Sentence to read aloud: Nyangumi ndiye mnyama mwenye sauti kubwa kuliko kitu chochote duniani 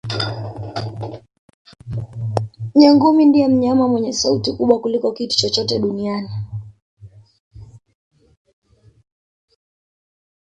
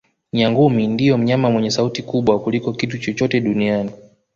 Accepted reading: second